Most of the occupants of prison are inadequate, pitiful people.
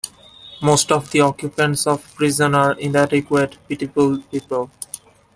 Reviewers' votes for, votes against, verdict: 2, 1, accepted